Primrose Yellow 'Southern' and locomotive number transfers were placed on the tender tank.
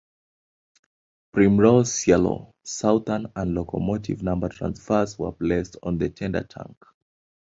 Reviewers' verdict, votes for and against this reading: accepted, 2, 1